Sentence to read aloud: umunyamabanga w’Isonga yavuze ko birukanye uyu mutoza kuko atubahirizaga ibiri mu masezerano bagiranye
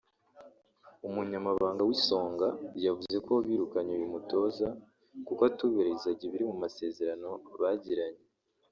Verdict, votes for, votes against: accepted, 2, 1